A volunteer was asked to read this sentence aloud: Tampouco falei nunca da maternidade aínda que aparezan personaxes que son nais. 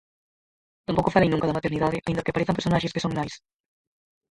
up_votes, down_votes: 0, 4